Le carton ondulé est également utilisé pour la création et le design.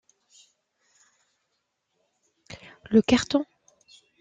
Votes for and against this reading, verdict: 0, 2, rejected